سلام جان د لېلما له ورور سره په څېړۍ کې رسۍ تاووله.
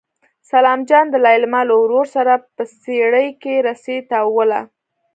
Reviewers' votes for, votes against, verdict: 2, 0, accepted